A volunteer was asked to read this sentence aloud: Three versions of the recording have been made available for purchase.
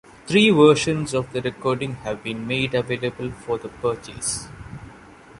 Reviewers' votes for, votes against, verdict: 1, 2, rejected